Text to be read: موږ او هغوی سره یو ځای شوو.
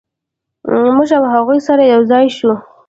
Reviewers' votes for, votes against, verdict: 0, 2, rejected